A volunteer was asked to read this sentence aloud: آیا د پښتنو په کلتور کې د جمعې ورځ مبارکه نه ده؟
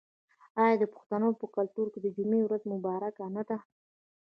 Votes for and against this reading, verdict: 0, 2, rejected